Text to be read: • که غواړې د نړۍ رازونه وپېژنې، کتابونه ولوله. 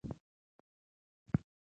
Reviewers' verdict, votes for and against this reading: rejected, 1, 2